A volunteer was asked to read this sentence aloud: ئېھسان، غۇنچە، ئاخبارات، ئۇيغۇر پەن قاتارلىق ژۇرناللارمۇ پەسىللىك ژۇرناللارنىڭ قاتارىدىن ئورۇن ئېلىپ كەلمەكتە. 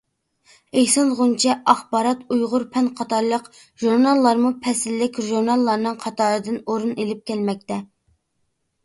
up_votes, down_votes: 2, 0